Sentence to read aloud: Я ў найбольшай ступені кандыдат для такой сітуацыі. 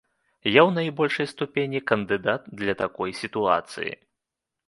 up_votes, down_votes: 1, 2